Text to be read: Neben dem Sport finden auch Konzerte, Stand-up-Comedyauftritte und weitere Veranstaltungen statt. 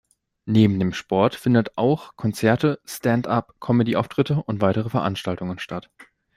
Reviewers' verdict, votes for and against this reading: rejected, 0, 2